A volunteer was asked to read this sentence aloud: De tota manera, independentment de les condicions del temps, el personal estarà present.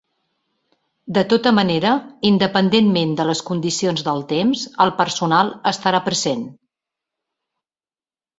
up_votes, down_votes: 2, 0